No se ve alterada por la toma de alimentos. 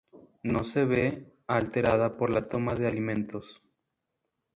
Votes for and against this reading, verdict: 0, 2, rejected